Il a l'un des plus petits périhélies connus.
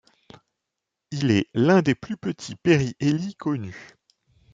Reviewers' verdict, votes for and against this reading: rejected, 1, 2